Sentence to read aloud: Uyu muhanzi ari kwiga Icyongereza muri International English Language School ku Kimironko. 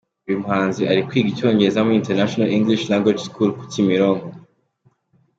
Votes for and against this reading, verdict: 2, 0, accepted